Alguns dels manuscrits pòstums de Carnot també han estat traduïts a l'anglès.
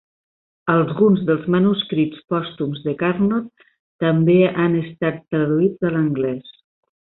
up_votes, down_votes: 1, 2